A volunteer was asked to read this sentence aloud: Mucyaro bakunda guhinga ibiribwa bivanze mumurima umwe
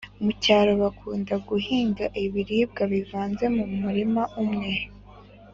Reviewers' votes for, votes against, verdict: 2, 0, accepted